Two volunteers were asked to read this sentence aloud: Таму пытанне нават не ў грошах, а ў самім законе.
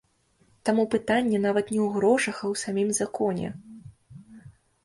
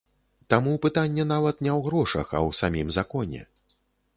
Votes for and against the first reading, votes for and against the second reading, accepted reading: 1, 2, 2, 0, second